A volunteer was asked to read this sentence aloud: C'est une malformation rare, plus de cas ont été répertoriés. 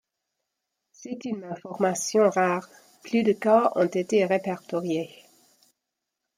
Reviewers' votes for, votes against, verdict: 0, 2, rejected